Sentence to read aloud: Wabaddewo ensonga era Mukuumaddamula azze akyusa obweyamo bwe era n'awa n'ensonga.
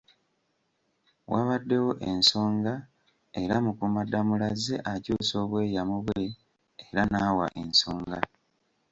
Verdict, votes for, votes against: rejected, 1, 2